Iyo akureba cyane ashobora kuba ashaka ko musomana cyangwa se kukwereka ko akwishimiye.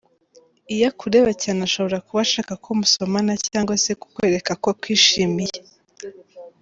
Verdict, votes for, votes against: accepted, 2, 1